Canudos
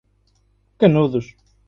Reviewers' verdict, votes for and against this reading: accepted, 2, 0